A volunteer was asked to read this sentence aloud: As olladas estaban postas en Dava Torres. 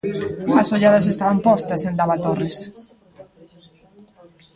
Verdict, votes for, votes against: rejected, 1, 2